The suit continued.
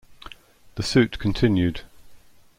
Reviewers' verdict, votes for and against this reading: accepted, 2, 0